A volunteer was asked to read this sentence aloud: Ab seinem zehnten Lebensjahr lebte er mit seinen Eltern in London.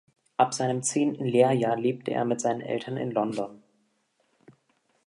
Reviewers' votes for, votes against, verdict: 1, 2, rejected